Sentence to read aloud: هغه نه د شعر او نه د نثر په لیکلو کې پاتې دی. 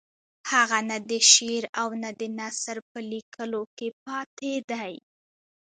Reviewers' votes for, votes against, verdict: 1, 2, rejected